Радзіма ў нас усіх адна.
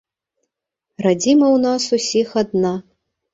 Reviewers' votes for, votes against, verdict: 2, 0, accepted